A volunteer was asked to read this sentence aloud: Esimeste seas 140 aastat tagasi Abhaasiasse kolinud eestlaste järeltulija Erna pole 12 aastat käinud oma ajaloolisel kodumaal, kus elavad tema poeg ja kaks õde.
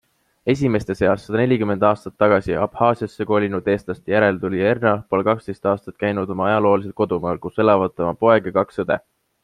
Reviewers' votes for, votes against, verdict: 0, 2, rejected